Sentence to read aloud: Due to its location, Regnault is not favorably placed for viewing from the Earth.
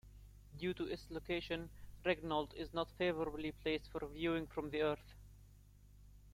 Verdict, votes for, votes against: accepted, 2, 1